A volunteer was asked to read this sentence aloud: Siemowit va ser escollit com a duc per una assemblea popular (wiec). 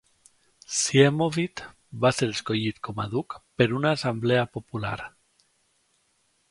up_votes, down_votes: 1, 2